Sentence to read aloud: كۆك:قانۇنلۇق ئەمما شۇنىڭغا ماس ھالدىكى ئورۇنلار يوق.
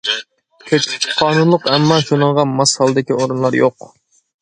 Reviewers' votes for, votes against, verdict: 0, 2, rejected